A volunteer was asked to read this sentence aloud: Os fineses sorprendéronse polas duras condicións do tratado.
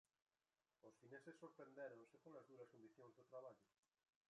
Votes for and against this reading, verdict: 0, 2, rejected